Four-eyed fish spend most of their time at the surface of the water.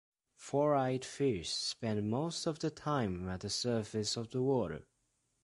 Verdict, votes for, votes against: rejected, 1, 2